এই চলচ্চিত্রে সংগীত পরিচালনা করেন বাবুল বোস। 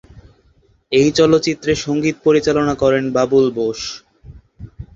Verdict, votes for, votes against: accepted, 18, 6